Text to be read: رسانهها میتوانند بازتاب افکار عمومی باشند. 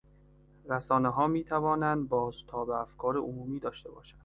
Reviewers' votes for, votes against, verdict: 1, 2, rejected